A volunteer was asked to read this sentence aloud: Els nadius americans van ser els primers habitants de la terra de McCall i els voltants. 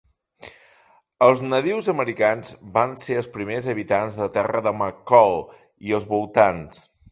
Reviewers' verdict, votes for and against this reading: rejected, 0, 2